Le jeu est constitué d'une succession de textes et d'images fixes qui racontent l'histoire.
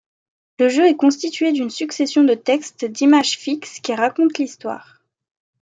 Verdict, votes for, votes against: rejected, 0, 2